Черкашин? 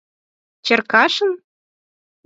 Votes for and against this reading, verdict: 4, 0, accepted